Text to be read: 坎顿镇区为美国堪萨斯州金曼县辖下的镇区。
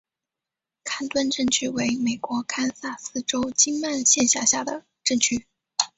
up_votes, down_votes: 6, 1